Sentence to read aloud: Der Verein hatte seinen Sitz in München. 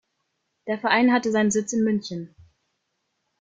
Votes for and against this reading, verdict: 2, 0, accepted